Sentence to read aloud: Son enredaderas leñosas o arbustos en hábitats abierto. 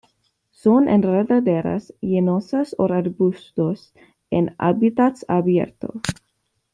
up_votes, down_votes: 1, 2